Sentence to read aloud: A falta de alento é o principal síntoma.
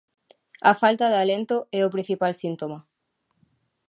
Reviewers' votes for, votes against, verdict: 2, 0, accepted